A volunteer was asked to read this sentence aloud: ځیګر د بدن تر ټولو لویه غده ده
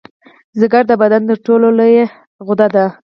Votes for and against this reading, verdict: 4, 0, accepted